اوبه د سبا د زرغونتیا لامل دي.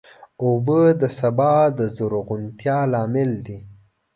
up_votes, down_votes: 2, 0